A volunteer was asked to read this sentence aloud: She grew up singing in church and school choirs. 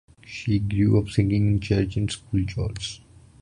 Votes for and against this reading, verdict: 2, 0, accepted